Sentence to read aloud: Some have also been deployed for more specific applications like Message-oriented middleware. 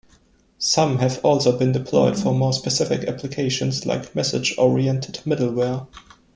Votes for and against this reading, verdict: 1, 2, rejected